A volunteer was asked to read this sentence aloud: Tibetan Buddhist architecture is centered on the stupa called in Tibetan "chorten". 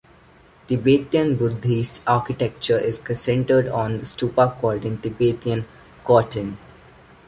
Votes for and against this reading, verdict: 1, 2, rejected